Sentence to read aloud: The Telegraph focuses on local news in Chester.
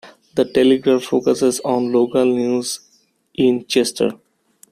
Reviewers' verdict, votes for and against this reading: accepted, 2, 1